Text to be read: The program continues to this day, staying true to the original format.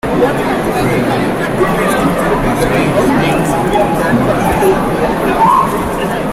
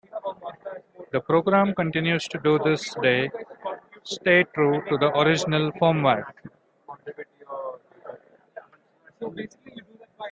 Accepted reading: second